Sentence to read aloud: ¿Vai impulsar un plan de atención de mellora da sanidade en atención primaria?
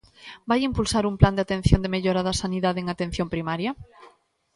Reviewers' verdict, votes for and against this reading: accepted, 2, 0